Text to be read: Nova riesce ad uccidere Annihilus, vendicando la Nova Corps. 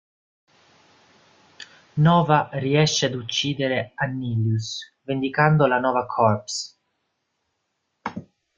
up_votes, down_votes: 2, 0